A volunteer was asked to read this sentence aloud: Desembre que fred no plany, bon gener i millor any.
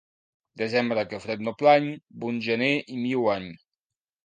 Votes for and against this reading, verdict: 3, 0, accepted